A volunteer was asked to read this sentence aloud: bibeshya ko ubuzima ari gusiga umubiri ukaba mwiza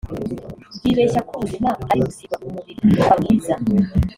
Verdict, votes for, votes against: rejected, 0, 2